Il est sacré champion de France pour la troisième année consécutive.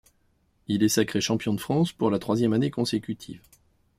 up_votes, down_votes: 2, 0